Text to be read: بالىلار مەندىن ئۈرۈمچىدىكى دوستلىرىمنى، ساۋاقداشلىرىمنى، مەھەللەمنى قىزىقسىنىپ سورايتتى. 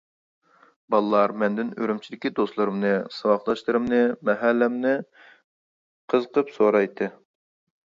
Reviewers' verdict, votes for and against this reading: rejected, 0, 2